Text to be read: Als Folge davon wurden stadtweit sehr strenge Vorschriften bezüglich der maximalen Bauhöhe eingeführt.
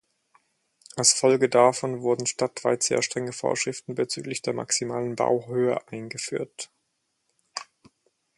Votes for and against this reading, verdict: 4, 0, accepted